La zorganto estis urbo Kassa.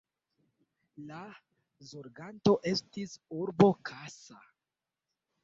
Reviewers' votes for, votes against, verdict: 0, 2, rejected